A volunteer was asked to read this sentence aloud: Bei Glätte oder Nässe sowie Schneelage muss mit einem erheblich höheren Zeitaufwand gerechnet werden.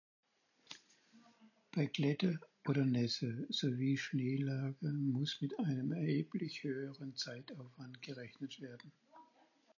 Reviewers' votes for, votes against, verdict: 2, 4, rejected